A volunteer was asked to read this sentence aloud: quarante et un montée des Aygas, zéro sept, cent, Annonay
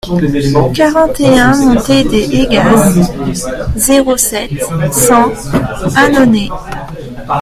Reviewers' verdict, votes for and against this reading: rejected, 1, 2